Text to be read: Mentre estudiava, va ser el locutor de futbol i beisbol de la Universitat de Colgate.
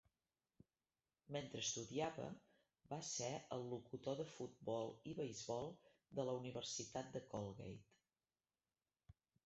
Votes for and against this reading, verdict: 0, 2, rejected